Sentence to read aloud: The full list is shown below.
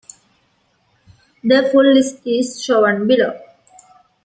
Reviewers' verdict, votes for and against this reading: accepted, 2, 0